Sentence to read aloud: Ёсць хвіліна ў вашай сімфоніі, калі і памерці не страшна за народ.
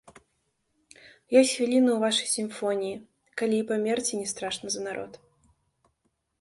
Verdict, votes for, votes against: accepted, 3, 0